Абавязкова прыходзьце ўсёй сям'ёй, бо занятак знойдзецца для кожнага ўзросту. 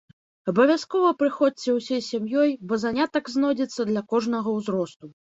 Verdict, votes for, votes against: rejected, 0, 2